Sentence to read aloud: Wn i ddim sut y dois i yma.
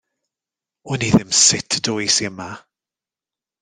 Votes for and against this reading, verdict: 2, 0, accepted